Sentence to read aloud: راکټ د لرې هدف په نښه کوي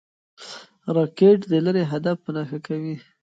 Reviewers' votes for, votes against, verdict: 3, 1, accepted